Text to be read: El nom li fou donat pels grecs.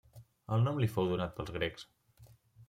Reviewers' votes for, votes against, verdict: 3, 0, accepted